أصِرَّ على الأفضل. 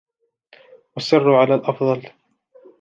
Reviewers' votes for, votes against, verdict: 2, 0, accepted